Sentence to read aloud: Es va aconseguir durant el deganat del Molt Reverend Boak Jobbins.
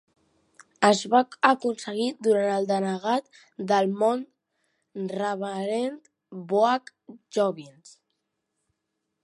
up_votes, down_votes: 1, 2